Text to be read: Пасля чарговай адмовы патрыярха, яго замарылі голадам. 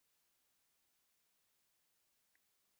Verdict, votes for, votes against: rejected, 0, 2